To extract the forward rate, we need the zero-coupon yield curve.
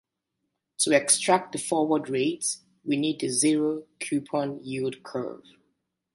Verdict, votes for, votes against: accepted, 2, 0